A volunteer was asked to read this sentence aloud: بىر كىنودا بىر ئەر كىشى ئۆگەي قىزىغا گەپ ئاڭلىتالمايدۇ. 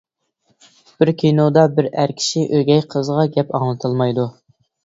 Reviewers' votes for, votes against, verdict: 2, 0, accepted